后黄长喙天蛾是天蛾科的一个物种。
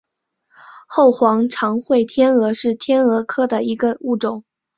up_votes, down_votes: 7, 4